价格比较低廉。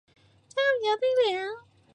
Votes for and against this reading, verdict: 1, 4, rejected